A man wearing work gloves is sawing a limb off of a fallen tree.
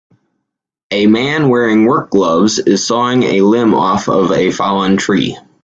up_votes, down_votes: 2, 0